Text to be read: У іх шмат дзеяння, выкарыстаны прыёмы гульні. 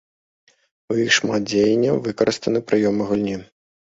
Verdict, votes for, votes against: accepted, 2, 0